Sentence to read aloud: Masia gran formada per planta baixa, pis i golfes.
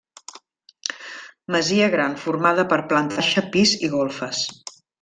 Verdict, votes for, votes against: rejected, 0, 2